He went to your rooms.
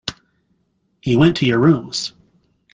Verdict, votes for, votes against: accepted, 2, 0